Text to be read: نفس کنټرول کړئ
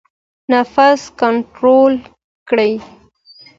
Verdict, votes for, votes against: accepted, 2, 0